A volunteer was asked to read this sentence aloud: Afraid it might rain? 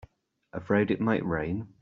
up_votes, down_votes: 3, 0